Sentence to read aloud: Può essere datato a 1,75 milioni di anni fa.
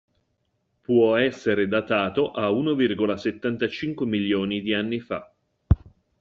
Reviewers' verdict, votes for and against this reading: rejected, 0, 2